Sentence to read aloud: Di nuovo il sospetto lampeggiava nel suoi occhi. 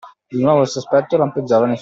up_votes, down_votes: 0, 2